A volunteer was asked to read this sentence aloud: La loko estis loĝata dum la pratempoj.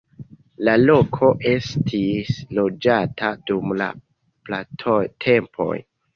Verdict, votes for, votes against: accepted, 2, 1